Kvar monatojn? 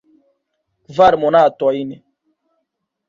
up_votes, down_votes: 1, 2